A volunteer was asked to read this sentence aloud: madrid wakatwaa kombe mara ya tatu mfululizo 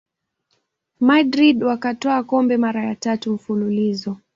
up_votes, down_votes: 1, 2